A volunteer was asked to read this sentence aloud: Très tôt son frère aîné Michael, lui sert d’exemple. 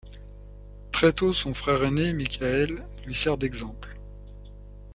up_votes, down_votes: 2, 0